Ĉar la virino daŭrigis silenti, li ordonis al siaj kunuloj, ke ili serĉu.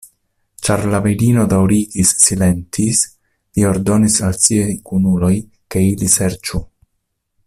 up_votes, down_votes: 1, 2